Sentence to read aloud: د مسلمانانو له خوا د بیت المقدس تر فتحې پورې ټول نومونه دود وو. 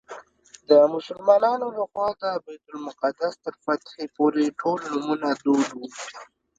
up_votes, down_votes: 2, 0